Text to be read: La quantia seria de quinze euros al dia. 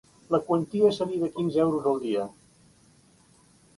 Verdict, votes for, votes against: rejected, 0, 2